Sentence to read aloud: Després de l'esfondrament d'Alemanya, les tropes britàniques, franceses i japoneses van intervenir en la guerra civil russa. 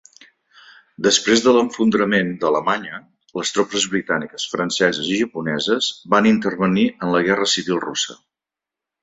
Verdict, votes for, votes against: rejected, 0, 2